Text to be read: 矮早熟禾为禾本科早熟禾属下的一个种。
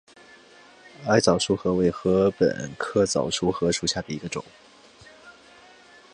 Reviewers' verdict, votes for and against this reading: accepted, 5, 0